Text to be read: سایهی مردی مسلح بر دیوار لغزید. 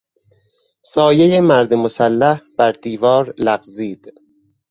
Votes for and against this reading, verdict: 2, 4, rejected